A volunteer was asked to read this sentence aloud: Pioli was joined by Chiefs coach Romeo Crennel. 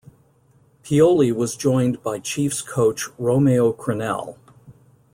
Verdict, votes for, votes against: accepted, 2, 0